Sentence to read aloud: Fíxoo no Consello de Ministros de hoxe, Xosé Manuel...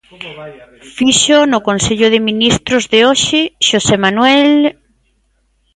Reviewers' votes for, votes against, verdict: 2, 0, accepted